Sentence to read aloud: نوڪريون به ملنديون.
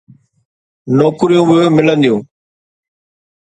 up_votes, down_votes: 2, 0